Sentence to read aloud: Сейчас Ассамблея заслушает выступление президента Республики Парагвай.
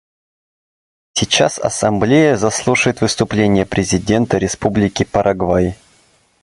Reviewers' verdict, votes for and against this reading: accepted, 2, 0